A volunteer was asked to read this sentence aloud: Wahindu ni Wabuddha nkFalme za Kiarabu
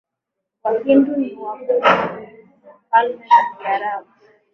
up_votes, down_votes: 2, 8